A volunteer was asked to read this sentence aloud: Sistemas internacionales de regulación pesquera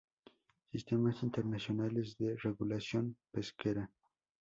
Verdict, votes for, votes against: rejected, 2, 2